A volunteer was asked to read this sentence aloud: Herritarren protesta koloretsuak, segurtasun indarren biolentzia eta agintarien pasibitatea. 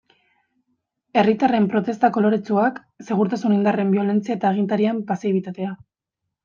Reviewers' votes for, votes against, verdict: 2, 0, accepted